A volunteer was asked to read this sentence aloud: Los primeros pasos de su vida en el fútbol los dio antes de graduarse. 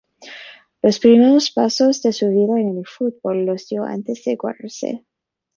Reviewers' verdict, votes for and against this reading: rejected, 1, 2